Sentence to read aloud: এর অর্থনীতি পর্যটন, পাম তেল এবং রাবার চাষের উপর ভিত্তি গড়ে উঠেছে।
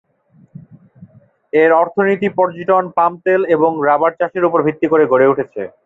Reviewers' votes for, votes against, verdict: 2, 0, accepted